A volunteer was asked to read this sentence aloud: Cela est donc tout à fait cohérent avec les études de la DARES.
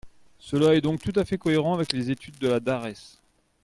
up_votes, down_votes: 2, 0